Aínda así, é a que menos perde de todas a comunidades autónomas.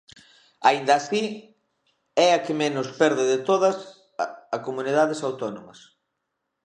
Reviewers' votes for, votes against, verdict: 1, 2, rejected